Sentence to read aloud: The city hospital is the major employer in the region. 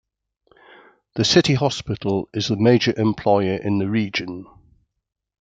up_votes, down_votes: 2, 0